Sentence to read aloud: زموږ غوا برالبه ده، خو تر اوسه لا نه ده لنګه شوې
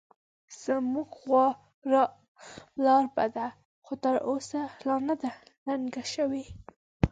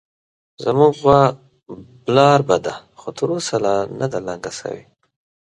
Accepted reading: second